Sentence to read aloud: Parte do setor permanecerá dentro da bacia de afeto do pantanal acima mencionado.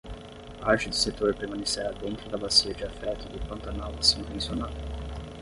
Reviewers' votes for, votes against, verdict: 5, 5, rejected